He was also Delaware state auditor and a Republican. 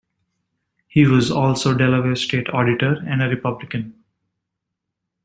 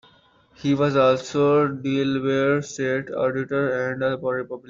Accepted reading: first